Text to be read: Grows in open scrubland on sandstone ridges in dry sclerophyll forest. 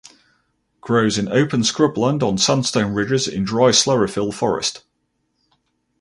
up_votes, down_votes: 4, 0